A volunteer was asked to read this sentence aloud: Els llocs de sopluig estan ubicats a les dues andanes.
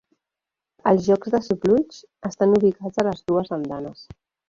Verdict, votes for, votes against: rejected, 0, 3